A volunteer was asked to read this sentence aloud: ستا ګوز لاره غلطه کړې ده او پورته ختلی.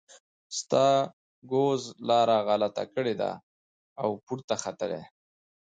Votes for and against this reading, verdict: 2, 0, accepted